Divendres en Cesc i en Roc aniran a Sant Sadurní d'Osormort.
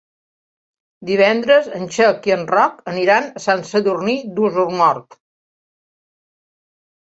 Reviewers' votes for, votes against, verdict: 1, 2, rejected